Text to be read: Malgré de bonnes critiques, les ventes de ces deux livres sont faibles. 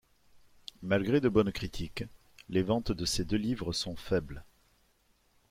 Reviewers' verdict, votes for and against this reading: accepted, 2, 0